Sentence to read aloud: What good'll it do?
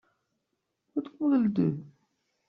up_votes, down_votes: 1, 2